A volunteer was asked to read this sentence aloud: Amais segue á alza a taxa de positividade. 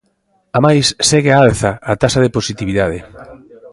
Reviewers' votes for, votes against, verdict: 2, 0, accepted